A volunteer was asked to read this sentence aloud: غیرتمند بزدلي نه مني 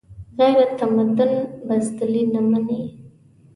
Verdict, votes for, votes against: rejected, 1, 2